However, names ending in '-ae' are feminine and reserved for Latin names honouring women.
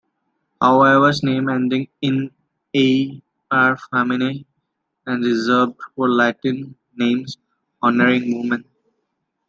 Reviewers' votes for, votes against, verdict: 1, 2, rejected